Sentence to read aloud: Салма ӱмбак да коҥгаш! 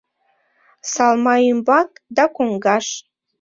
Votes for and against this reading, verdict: 2, 0, accepted